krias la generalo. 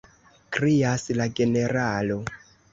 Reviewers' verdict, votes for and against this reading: accepted, 3, 1